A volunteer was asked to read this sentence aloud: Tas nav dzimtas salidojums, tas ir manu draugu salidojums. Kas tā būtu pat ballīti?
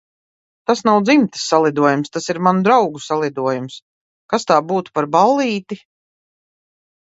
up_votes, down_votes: 2, 0